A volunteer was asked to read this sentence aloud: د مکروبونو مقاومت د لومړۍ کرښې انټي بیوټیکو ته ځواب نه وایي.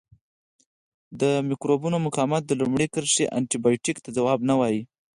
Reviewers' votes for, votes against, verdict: 6, 2, accepted